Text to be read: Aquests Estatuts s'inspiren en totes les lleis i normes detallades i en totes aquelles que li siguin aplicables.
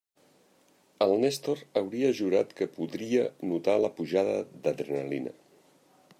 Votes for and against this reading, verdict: 0, 2, rejected